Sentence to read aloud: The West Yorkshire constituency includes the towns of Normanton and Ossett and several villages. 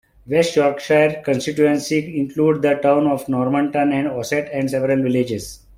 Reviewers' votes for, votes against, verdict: 2, 3, rejected